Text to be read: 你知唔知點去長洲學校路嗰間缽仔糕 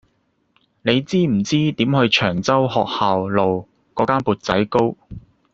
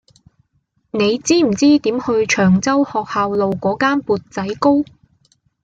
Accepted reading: second